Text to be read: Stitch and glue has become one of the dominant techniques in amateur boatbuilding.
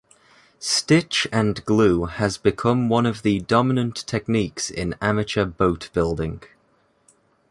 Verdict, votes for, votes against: accepted, 2, 0